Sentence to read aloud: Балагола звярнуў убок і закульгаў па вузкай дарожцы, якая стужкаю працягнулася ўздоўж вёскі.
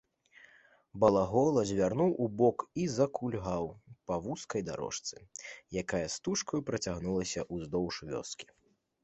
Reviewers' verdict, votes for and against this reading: accepted, 2, 0